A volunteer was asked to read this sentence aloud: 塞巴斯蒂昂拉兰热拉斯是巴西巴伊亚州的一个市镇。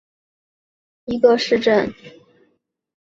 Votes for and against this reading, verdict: 1, 2, rejected